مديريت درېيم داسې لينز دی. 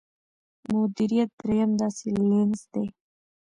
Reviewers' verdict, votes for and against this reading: accepted, 2, 0